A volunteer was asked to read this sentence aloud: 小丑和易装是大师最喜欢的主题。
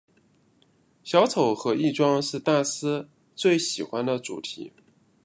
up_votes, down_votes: 2, 0